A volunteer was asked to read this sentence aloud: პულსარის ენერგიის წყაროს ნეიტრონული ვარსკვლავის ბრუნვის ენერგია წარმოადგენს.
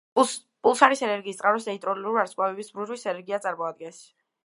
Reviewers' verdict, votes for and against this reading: rejected, 0, 2